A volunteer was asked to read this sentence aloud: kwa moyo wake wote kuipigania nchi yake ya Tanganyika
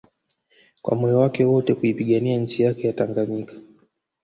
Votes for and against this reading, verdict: 0, 2, rejected